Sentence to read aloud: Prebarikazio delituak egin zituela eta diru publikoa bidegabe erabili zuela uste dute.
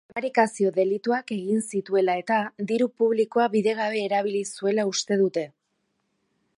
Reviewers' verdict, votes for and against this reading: rejected, 1, 2